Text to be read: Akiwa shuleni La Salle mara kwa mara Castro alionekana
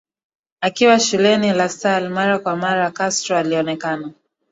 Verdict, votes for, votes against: accepted, 2, 1